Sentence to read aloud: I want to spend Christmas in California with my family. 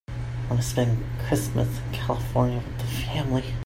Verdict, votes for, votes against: rejected, 0, 2